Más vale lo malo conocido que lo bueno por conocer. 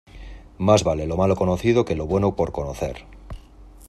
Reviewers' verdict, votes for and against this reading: accepted, 2, 0